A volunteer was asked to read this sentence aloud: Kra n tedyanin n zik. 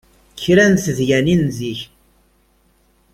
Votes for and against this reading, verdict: 2, 0, accepted